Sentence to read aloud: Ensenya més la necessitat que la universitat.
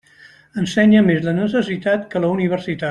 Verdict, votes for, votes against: accepted, 3, 0